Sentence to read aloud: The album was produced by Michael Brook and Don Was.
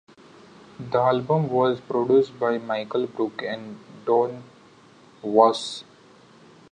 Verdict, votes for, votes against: accepted, 2, 0